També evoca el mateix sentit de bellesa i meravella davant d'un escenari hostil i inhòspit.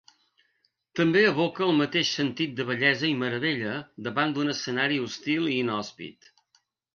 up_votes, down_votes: 2, 0